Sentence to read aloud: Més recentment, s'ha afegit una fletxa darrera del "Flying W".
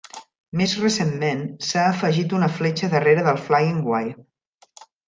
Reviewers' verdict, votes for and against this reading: rejected, 1, 2